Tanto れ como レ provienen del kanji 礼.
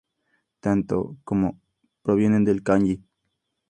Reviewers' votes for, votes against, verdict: 2, 0, accepted